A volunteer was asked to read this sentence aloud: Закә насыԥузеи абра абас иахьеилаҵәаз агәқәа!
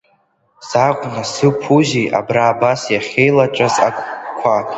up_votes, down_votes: 2, 0